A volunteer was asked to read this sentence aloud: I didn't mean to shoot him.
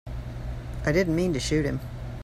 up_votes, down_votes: 2, 0